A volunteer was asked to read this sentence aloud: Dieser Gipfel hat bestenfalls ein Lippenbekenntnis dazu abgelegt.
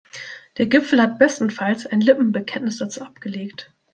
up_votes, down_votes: 0, 2